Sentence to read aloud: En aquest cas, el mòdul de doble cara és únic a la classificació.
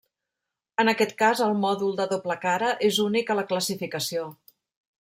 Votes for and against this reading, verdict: 3, 0, accepted